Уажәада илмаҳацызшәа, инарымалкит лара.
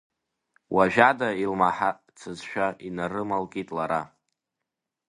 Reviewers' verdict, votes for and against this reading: rejected, 1, 2